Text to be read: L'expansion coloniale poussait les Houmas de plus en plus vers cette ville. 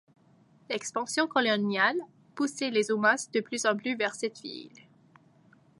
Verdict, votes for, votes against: rejected, 1, 2